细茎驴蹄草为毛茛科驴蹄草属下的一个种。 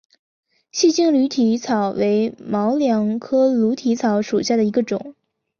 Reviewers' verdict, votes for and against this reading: accepted, 3, 0